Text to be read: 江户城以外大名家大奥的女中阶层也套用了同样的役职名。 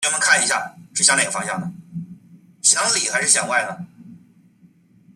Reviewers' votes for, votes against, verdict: 0, 2, rejected